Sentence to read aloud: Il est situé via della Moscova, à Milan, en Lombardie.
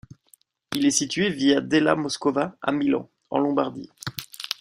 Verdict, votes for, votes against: accepted, 2, 0